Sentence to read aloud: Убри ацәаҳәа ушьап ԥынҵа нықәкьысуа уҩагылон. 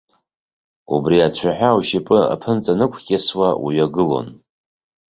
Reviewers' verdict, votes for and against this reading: rejected, 0, 2